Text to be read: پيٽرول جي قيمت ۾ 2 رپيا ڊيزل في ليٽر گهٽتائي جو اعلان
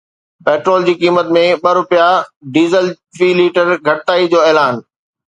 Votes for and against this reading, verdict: 0, 2, rejected